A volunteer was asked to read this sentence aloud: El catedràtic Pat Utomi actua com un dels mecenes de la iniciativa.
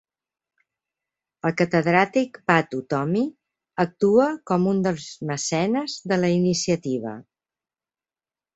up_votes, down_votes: 3, 0